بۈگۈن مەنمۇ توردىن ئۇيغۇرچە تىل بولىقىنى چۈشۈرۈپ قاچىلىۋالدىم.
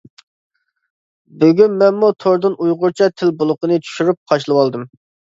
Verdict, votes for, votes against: rejected, 0, 2